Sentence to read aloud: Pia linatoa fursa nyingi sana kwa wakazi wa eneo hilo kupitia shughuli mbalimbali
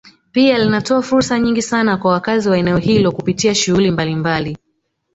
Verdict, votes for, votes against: accepted, 2, 1